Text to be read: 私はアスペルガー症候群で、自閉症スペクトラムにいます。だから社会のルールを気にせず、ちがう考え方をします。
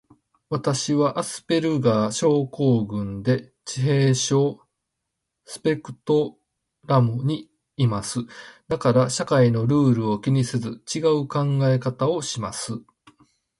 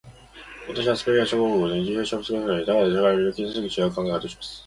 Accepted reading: first